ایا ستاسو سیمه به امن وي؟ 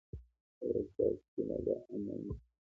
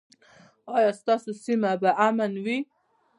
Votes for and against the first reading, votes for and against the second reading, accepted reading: 2, 0, 1, 2, first